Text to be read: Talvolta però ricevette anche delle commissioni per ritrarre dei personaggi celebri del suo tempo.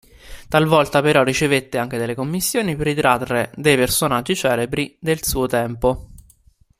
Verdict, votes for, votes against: accepted, 2, 1